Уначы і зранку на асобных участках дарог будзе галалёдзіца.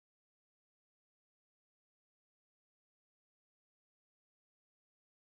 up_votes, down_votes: 0, 2